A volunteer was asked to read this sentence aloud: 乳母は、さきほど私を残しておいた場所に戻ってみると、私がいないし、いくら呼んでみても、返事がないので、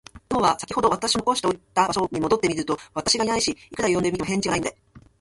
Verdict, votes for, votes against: rejected, 0, 2